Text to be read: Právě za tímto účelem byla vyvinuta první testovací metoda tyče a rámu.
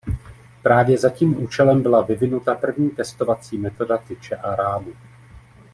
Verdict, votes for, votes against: rejected, 1, 2